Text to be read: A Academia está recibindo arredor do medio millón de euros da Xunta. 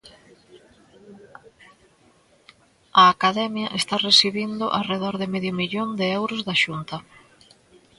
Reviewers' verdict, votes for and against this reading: rejected, 1, 2